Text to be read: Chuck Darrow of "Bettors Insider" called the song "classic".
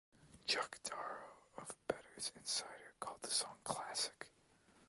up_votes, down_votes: 2, 0